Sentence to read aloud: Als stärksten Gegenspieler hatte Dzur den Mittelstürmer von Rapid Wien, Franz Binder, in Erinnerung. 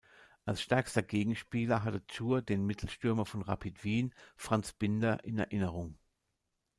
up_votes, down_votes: 0, 2